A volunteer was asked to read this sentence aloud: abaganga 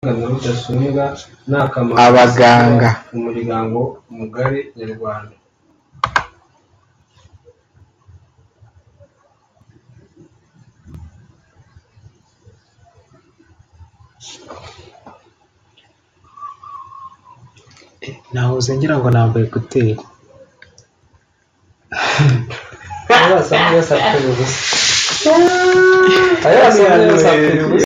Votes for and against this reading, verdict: 0, 2, rejected